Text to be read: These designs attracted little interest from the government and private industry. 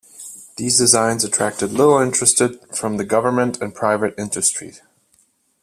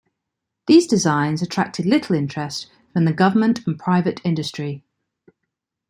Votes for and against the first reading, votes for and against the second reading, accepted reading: 1, 2, 2, 0, second